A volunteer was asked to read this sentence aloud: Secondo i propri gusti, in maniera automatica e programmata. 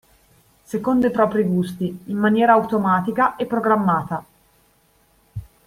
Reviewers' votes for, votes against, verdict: 2, 0, accepted